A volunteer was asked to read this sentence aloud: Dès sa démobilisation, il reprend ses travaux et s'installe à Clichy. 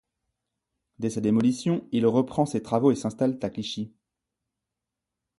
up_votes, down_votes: 2, 1